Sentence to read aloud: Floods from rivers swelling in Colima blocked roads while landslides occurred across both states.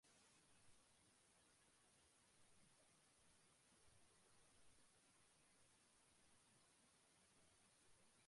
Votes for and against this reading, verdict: 0, 2, rejected